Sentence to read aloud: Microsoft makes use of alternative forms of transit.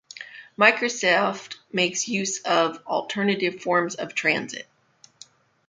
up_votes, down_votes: 2, 0